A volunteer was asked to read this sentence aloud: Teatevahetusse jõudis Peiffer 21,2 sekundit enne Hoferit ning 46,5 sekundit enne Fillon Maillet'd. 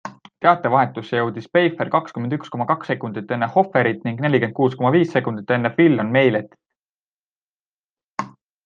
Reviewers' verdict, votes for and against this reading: rejected, 0, 2